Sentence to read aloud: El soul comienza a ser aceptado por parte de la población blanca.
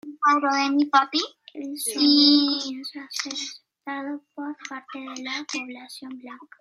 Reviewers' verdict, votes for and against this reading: rejected, 0, 2